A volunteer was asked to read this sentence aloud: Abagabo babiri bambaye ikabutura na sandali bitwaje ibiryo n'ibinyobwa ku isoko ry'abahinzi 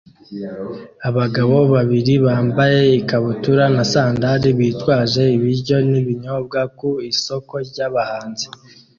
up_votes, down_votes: 0, 2